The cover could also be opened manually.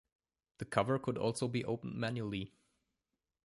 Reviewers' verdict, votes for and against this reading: accepted, 2, 0